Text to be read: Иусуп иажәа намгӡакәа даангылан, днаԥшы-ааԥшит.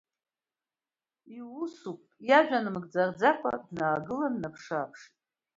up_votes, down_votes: 0, 2